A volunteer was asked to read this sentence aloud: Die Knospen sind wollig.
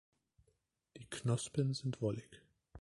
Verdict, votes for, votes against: accepted, 3, 2